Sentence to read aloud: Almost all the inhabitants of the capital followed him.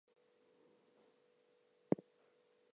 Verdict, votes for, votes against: accepted, 2, 0